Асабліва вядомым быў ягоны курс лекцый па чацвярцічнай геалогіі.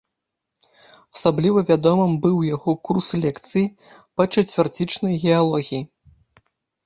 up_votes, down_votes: 0, 2